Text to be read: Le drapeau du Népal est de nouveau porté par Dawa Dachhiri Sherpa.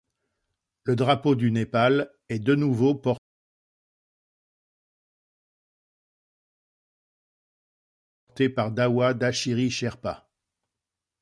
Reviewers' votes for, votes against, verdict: 0, 2, rejected